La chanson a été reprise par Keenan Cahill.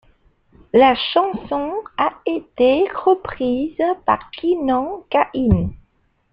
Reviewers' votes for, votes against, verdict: 0, 2, rejected